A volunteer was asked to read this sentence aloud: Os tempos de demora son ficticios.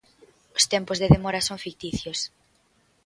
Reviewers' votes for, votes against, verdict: 2, 0, accepted